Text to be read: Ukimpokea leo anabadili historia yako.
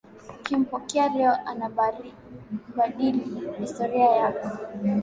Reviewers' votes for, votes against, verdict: 0, 2, rejected